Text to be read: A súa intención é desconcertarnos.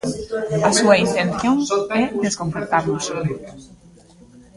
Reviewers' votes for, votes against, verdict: 0, 2, rejected